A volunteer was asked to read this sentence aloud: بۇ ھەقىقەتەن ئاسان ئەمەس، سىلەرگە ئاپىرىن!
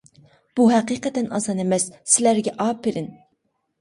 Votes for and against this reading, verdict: 2, 0, accepted